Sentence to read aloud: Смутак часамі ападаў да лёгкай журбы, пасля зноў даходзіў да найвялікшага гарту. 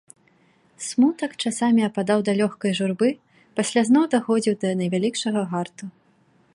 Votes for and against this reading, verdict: 2, 0, accepted